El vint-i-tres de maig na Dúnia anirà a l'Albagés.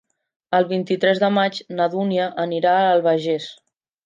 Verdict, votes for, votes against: rejected, 1, 2